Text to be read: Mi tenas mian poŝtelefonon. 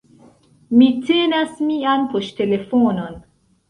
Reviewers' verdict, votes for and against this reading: rejected, 0, 2